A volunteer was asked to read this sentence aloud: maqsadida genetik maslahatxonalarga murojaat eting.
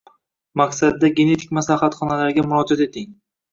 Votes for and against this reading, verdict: 1, 2, rejected